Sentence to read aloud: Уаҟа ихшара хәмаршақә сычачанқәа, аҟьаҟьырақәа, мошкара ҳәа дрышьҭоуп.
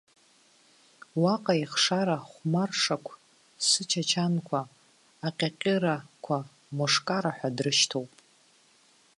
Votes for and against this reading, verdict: 1, 2, rejected